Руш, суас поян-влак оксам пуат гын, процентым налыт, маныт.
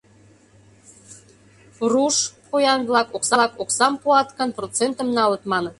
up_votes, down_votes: 0, 2